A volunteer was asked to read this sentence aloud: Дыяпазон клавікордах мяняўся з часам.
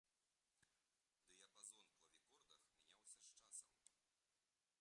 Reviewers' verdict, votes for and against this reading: rejected, 0, 2